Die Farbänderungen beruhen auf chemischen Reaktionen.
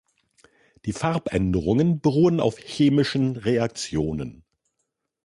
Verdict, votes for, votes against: accepted, 2, 0